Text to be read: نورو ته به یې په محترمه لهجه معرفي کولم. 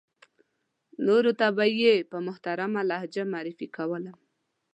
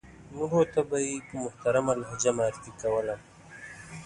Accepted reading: first